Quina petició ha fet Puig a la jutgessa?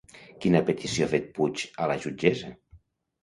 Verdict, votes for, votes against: accepted, 2, 0